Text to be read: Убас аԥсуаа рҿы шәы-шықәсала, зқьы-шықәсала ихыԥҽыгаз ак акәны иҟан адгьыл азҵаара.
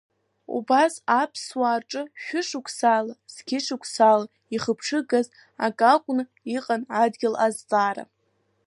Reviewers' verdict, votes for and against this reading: accepted, 2, 0